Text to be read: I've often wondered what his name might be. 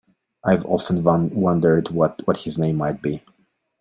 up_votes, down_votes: 1, 2